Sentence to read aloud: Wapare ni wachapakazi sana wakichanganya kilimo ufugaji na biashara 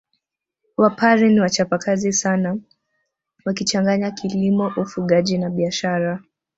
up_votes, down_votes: 2, 0